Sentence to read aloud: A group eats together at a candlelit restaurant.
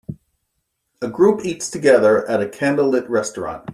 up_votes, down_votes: 2, 0